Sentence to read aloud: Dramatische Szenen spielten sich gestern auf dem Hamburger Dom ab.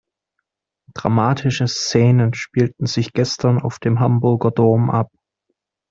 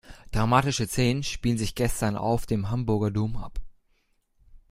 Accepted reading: first